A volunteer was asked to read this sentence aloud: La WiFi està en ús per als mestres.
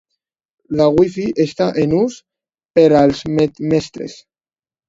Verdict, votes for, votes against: rejected, 1, 2